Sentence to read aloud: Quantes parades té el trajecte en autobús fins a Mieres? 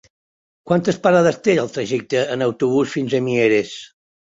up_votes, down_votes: 4, 0